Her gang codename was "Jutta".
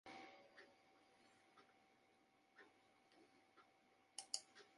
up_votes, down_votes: 0, 2